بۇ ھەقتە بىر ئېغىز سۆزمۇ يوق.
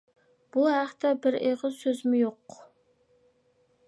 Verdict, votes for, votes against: accepted, 2, 0